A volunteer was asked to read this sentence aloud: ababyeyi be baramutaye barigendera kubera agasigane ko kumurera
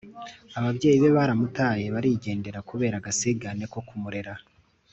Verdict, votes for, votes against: accepted, 2, 0